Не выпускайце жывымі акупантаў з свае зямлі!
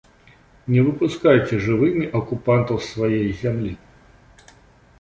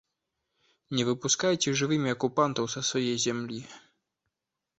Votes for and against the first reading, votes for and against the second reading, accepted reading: 2, 1, 1, 2, first